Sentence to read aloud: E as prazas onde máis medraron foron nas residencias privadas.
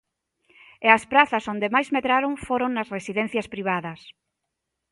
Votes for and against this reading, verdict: 2, 0, accepted